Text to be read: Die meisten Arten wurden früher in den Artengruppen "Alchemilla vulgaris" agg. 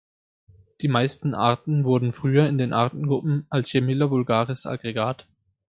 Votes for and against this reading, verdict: 1, 2, rejected